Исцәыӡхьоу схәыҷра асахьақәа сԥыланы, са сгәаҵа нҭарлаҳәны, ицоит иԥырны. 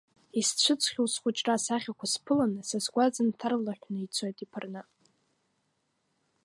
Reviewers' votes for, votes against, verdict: 0, 2, rejected